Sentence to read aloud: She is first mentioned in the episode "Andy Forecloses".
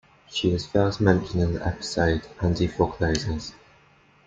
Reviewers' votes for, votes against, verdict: 2, 0, accepted